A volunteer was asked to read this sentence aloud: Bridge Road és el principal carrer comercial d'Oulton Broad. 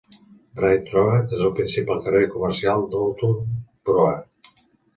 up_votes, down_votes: 0, 3